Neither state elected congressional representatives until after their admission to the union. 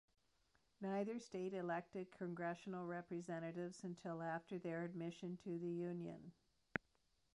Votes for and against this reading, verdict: 2, 1, accepted